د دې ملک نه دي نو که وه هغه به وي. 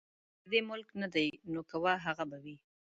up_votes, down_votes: 0, 2